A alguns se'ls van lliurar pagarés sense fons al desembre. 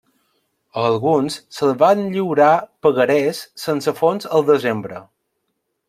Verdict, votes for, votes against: accepted, 2, 0